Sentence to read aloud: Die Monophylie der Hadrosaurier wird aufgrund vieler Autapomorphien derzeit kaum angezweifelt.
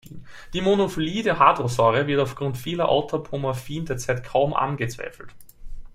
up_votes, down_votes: 2, 1